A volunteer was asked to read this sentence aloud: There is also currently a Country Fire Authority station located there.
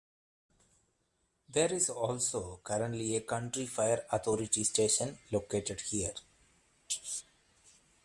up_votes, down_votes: 1, 2